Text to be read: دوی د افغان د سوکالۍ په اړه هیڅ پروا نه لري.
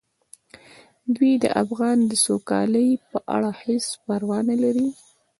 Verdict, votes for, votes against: accepted, 2, 0